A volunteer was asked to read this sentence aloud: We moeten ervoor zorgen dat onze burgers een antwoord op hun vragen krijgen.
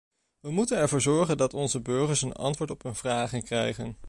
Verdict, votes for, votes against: accepted, 2, 0